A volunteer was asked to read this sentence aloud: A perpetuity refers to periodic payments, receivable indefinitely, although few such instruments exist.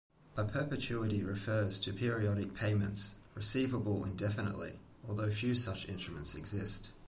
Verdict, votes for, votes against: accepted, 2, 0